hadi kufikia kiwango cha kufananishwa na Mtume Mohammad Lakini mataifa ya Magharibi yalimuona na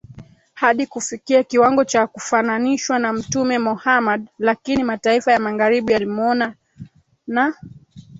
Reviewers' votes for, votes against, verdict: 1, 2, rejected